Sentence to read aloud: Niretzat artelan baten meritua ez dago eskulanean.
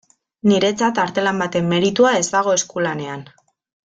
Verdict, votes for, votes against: accepted, 2, 0